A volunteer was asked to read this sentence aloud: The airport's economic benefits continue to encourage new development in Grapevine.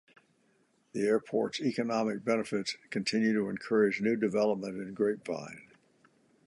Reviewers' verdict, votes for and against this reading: accepted, 2, 0